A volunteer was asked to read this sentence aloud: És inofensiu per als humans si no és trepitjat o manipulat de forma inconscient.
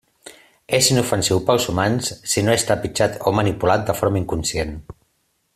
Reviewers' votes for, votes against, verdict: 2, 0, accepted